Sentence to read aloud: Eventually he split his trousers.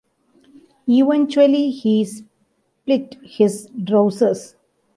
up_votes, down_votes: 1, 2